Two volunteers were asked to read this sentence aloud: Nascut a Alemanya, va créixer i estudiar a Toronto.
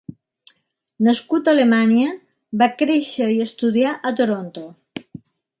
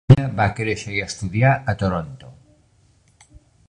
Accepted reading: first